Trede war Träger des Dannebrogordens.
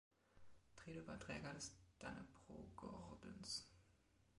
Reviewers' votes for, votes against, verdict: 0, 2, rejected